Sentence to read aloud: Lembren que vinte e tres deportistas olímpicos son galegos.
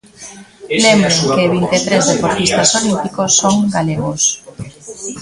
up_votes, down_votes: 1, 2